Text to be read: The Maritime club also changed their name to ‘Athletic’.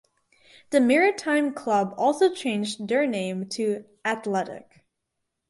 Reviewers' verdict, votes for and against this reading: accepted, 4, 0